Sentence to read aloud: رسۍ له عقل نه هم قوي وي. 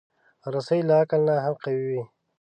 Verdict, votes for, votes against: accepted, 2, 0